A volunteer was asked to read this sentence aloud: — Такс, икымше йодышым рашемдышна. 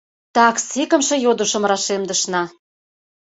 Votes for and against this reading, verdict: 2, 0, accepted